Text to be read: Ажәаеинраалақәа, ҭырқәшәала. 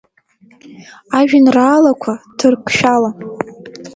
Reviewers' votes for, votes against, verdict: 2, 1, accepted